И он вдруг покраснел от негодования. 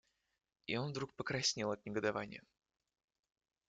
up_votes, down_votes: 2, 0